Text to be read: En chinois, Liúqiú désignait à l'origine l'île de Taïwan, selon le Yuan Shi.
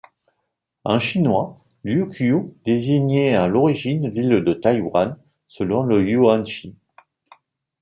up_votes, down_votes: 2, 0